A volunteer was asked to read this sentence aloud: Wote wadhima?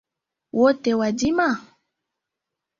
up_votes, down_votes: 2, 0